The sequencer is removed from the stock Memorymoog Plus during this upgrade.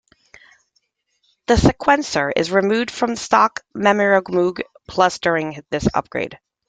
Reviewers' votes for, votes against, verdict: 2, 1, accepted